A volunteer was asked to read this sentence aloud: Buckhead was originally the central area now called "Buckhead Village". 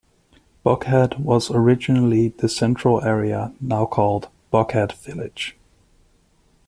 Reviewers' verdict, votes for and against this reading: accepted, 2, 0